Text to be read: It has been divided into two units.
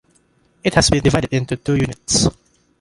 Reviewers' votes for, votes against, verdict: 2, 0, accepted